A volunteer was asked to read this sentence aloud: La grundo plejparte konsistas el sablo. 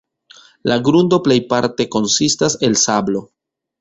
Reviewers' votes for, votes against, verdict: 1, 2, rejected